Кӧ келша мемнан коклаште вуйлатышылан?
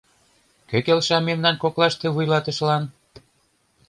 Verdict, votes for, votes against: accepted, 2, 0